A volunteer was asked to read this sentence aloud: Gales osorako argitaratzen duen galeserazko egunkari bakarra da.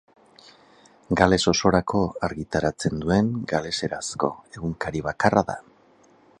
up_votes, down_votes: 8, 0